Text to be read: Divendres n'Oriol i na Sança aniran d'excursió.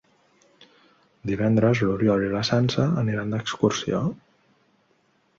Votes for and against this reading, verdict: 1, 2, rejected